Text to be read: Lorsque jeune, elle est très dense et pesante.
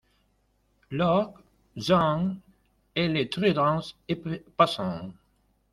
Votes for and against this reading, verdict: 0, 2, rejected